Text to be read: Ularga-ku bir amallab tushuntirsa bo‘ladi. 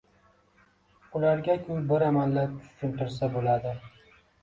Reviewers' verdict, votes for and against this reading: rejected, 1, 2